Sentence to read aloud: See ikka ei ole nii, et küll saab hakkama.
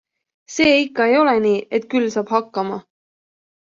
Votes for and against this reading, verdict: 2, 0, accepted